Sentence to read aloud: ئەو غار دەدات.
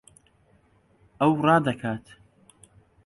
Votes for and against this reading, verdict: 0, 2, rejected